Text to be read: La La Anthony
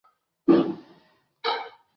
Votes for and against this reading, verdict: 0, 2, rejected